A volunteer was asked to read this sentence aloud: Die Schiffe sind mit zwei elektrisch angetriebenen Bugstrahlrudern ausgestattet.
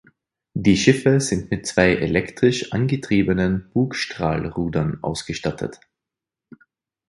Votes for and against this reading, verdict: 4, 0, accepted